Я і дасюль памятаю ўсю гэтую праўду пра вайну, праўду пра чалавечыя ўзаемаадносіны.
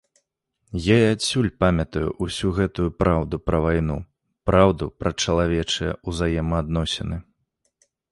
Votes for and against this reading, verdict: 0, 2, rejected